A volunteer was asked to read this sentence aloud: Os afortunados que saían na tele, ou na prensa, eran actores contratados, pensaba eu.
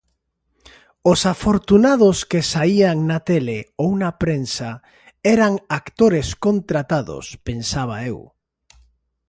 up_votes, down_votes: 2, 0